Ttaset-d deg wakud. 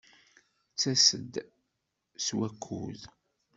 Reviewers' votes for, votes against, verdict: 0, 2, rejected